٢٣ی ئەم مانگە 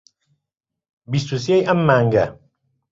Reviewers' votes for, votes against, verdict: 0, 2, rejected